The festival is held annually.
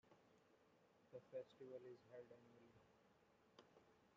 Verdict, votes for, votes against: rejected, 0, 2